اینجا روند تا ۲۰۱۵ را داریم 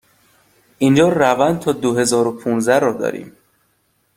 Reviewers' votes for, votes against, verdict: 0, 2, rejected